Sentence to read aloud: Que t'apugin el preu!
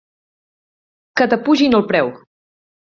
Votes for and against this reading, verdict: 2, 0, accepted